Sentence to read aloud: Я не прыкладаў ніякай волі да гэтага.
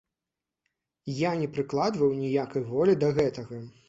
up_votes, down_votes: 0, 2